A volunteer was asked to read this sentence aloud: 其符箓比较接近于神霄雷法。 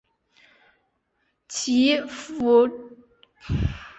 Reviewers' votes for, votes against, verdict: 0, 2, rejected